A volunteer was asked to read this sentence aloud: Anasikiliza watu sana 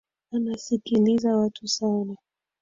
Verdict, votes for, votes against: rejected, 2, 3